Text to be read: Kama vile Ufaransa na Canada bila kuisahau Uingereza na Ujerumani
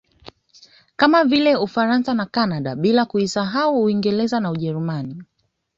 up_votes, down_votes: 1, 2